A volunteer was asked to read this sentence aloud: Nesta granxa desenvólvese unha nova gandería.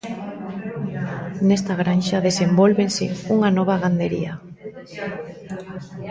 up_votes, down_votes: 2, 0